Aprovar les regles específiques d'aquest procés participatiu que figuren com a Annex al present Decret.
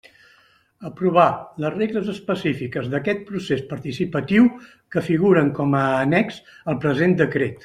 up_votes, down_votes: 3, 0